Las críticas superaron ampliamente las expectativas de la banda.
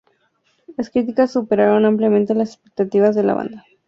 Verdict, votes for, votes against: accepted, 2, 0